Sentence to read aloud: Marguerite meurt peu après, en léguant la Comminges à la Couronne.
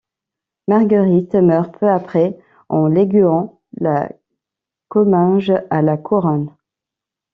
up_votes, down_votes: 0, 2